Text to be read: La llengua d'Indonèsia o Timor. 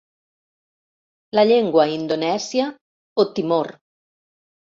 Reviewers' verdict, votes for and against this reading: rejected, 1, 2